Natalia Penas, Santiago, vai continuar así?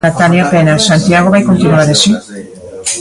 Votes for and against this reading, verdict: 0, 2, rejected